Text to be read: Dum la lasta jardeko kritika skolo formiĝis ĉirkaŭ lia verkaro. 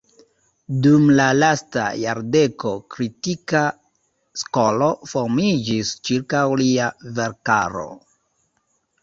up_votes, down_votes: 2, 0